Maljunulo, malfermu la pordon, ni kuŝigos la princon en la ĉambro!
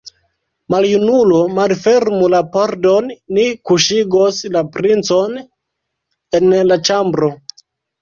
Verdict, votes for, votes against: accepted, 2, 0